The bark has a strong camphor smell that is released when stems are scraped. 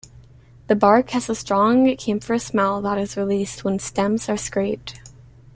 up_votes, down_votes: 0, 2